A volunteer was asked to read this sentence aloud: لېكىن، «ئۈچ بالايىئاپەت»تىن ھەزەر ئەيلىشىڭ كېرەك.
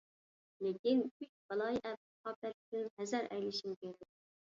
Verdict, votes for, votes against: rejected, 0, 2